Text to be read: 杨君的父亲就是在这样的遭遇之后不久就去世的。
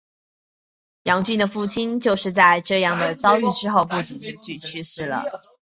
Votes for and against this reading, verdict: 5, 2, accepted